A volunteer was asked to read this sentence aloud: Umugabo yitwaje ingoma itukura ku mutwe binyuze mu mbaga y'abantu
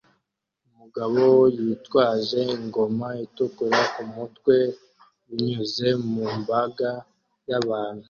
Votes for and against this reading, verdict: 2, 0, accepted